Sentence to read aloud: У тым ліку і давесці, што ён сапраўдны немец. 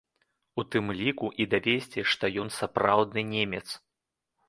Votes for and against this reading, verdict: 2, 1, accepted